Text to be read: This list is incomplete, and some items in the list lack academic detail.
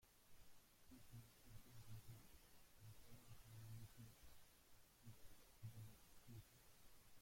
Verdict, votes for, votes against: rejected, 0, 2